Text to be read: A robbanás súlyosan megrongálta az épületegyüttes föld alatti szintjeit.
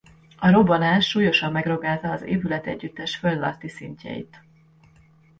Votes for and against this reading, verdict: 0, 2, rejected